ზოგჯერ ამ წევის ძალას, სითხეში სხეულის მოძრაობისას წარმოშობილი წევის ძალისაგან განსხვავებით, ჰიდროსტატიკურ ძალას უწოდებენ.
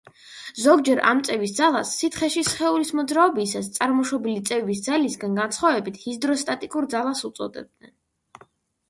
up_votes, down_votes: 1, 2